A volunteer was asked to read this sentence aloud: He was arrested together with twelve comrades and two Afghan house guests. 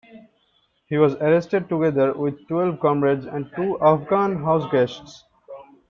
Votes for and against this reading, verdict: 1, 2, rejected